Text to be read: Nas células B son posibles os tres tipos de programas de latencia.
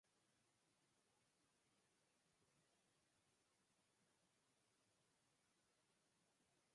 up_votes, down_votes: 0, 4